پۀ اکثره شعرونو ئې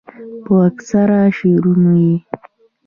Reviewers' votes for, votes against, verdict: 2, 0, accepted